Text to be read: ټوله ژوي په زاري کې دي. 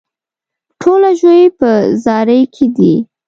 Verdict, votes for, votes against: accepted, 2, 0